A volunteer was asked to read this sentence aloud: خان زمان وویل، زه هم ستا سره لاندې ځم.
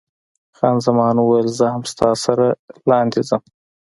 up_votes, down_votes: 2, 0